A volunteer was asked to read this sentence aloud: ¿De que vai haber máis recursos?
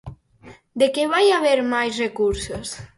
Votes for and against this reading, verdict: 4, 0, accepted